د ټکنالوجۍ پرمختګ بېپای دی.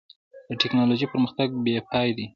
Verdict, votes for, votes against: rejected, 0, 2